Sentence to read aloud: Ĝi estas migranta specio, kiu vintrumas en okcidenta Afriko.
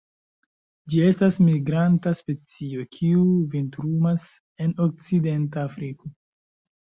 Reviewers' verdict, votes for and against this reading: rejected, 0, 2